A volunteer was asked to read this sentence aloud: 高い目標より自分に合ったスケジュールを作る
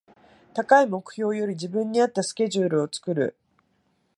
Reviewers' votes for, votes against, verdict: 2, 0, accepted